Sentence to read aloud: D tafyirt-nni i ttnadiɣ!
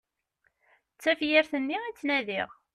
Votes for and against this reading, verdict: 2, 0, accepted